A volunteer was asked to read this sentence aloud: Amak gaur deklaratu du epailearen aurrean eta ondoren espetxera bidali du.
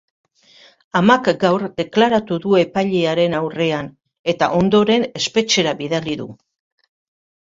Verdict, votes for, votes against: rejected, 1, 2